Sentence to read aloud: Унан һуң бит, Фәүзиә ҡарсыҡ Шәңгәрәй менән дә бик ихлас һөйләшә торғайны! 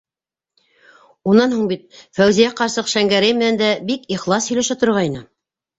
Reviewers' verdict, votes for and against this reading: accepted, 2, 0